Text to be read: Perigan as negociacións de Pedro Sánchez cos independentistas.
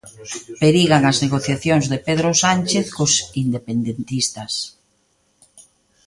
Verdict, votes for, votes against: accepted, 2, 0